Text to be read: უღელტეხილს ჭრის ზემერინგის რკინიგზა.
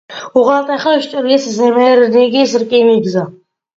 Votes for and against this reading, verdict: 2, 0, accepted